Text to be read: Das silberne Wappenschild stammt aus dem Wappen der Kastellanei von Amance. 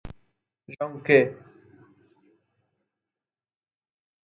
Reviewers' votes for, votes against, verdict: 0, 2, rejected